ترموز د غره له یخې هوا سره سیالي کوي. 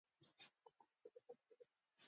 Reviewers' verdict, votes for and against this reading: rejected, 0, 2